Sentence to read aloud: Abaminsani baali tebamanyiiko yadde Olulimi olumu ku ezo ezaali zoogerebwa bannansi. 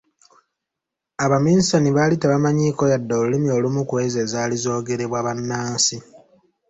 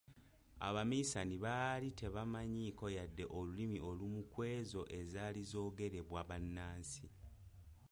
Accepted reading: first